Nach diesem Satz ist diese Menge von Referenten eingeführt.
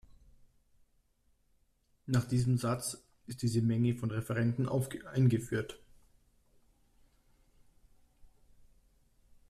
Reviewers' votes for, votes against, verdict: 1, 2, rejected